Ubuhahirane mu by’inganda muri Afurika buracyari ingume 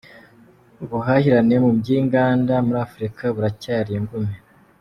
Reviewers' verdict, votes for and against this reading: rejected, 0, 2